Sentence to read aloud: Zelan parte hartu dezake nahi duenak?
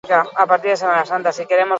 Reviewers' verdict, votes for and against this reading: rejected, 0, 6